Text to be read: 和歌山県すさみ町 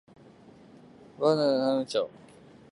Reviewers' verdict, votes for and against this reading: rejected, 0, 2